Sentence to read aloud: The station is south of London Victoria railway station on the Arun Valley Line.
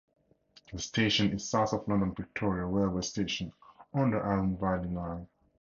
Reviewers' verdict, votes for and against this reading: rejected, 0, 2